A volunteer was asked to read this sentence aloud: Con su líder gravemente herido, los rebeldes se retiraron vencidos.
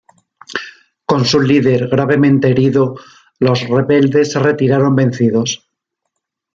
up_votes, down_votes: 2, 0